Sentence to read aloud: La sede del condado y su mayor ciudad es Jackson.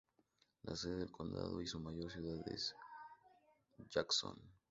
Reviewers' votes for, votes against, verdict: 2, 2, rejected